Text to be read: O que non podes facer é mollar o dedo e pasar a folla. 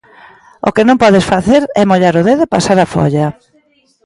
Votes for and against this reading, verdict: 2, 0, accepted